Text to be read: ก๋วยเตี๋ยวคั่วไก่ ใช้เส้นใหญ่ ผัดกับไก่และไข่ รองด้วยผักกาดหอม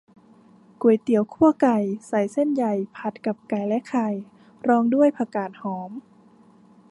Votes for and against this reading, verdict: 1, 2, rejected